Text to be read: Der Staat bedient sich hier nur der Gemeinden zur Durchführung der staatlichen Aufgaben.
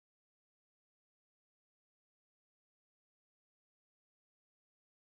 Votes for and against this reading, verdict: 0, 2, rejected